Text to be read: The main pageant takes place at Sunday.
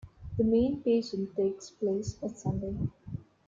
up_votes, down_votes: 1, 2